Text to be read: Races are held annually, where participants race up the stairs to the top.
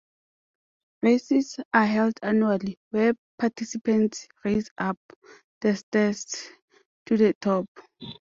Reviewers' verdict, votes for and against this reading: accepted, 2, 0